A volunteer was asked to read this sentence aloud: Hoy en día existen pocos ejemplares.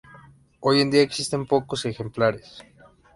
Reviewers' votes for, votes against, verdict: 2, 0, accepted